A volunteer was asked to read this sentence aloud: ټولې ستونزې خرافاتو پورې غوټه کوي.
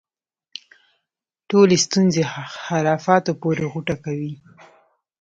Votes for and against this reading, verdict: 2, 0, accepted